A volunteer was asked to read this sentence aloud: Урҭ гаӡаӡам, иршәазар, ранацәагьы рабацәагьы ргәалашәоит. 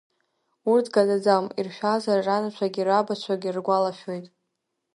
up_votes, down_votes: 0, 2